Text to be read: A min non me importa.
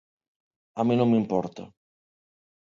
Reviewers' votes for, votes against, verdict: 2, 1, accepted